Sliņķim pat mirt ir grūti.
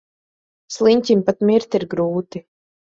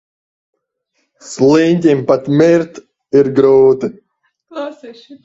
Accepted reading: first